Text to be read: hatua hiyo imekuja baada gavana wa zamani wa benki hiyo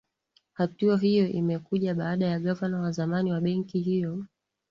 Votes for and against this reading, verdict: 2, 0, accepted